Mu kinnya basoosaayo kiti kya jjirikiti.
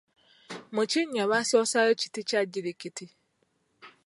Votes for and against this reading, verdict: 2, 0, accepted